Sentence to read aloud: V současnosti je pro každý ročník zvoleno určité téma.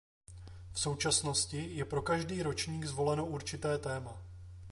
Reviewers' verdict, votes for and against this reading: accepted, 2, 0